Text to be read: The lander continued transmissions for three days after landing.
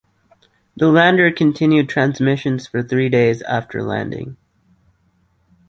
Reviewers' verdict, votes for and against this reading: accepted, 2, 0